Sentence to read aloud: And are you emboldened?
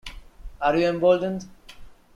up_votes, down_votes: 1, 2